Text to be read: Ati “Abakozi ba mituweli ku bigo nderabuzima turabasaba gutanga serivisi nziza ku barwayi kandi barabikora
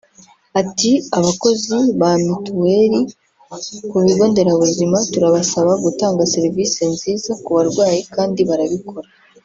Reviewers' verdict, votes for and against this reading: accepted, 2, 0